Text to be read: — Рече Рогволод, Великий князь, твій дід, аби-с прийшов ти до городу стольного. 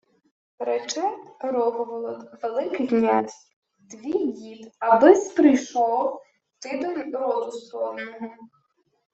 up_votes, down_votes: 0, 2